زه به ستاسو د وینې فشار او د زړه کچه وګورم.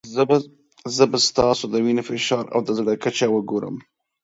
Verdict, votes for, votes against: rejected, 1, 2